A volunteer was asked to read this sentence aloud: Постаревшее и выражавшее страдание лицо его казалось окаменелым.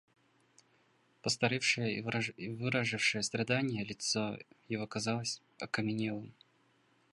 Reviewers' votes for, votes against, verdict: 0, 2, rejected